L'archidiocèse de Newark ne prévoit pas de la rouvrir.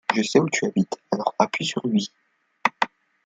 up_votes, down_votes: 0, 2